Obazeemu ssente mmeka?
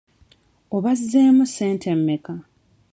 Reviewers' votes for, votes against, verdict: 0, 2, rejected